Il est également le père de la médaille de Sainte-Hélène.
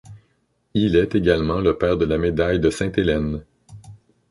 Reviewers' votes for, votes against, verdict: 2, 0, accepted